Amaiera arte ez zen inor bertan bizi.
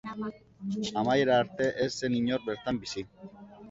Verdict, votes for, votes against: rejected, 0, 2